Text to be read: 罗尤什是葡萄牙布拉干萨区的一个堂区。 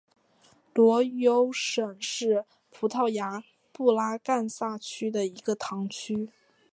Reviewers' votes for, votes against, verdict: 2, 1, accepted